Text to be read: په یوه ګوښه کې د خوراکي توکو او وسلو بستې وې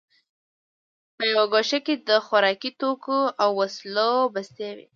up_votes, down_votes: 0, 2